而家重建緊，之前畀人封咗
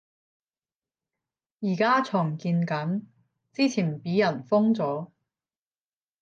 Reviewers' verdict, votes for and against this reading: rejected, 5, 10